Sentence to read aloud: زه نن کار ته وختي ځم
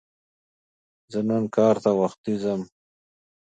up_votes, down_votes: 2, 0